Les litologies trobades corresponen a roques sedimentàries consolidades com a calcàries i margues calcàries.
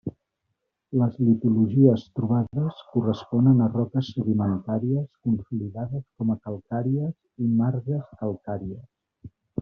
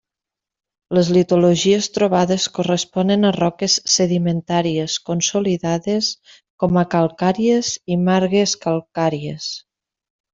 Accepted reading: second